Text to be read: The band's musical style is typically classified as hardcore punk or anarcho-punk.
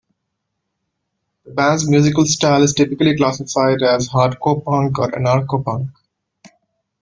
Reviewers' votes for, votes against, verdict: 2, 0, accepted